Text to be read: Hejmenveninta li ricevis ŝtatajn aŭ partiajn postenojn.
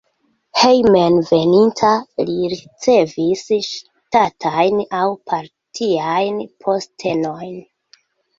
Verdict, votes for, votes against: accepted, 2, 1